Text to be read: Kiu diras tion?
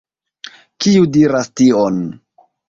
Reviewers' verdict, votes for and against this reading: accepted, 2, 0